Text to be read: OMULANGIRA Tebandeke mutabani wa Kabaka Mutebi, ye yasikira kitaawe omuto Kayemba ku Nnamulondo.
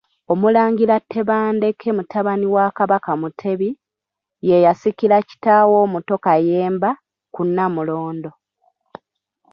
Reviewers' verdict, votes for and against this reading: accepted, 2, 1